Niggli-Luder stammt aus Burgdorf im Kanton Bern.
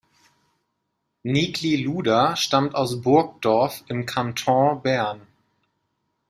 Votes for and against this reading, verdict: 1, 2, rejected